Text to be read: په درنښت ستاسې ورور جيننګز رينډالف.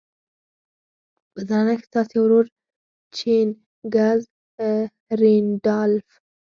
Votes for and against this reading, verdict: 4, 0, accepted